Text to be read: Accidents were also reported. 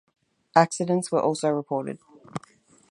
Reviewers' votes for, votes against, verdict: 4, 0, accepted